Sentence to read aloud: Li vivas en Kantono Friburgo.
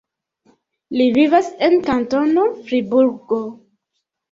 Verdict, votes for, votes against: accepted, 2, 0